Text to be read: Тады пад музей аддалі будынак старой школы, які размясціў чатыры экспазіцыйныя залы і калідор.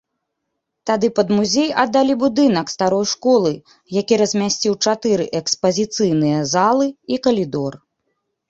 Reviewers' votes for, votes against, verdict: 1, 2, rejected